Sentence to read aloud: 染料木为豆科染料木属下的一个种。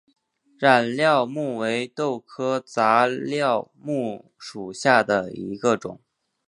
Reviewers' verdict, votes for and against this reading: accepted, 3, 1